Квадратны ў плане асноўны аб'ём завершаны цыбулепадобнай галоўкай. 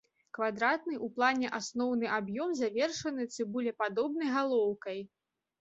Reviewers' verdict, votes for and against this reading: accepted, 2, 0